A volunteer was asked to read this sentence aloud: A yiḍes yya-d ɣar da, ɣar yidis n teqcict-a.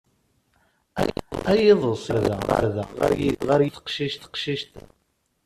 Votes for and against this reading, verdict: 0, 2, rejected